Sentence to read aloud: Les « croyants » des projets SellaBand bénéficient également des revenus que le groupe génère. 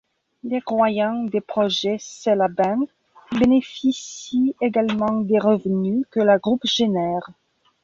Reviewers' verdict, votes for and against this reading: accepted, 2, 0